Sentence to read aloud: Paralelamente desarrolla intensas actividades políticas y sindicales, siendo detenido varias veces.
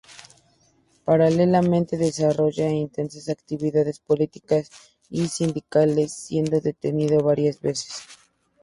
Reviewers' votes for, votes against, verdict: 2, 0, accepted